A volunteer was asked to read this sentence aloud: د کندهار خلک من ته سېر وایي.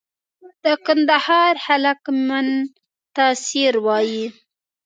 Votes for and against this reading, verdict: 0, 2, rejected